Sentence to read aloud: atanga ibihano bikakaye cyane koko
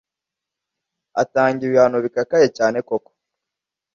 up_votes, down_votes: 2, 0